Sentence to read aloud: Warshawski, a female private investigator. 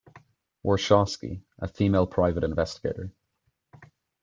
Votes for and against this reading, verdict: 2, 0, accepted